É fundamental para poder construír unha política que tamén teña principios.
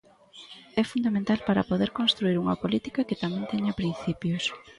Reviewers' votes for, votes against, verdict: 1, 2, rejected